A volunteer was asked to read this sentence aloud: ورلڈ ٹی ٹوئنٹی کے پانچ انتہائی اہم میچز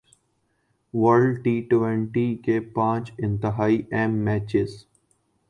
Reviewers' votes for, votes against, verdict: 2, 0, accepted